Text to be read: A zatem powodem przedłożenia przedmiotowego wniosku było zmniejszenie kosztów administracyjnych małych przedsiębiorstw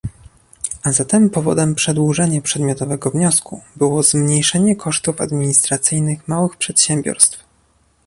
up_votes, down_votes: 2, 0